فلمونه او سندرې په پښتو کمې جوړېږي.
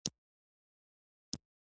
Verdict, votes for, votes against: rejected, 1, 2